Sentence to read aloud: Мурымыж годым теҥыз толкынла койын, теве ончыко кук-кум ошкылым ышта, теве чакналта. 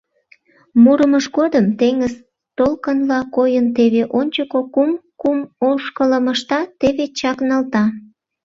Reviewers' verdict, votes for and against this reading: rejected, 0, 2